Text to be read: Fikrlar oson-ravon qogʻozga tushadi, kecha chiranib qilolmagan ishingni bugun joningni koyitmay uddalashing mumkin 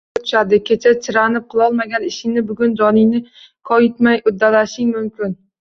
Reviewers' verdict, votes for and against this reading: rejected, 0, 2